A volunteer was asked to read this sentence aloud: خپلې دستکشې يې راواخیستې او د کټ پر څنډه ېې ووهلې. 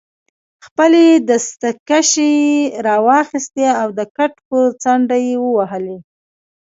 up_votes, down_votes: 2, 1